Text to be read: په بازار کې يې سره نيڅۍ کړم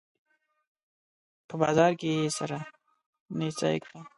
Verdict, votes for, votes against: rejected, 0, 2